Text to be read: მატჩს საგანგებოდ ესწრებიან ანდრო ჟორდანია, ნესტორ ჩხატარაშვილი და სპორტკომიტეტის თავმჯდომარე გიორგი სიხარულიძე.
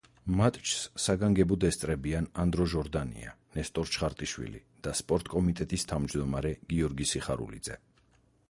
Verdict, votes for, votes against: rejected, 0, 4